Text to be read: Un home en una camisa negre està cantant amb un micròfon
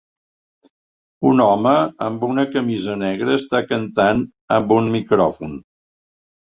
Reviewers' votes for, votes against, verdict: 0, 2, rejected